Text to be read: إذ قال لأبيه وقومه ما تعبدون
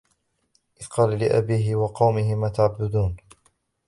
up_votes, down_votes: 0, 2